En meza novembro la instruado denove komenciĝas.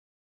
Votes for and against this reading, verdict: 1, 2, rejected